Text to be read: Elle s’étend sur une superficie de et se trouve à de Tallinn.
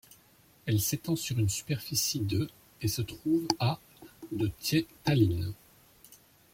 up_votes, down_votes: 2, 1